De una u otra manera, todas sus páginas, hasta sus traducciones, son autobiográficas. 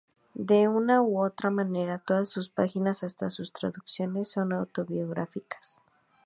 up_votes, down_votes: 2, 0